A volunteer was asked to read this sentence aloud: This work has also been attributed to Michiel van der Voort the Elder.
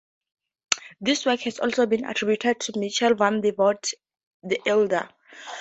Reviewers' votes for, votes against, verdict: 0, 4, rejected